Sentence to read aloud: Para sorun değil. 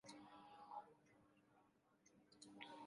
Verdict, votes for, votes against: rejected, 0, 2